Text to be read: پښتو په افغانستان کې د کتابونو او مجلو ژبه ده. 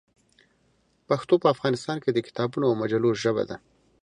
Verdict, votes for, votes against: accepted, 2, 0